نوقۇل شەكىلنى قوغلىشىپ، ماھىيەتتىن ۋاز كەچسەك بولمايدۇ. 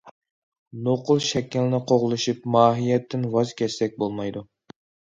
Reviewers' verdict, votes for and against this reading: accepted, 2, 0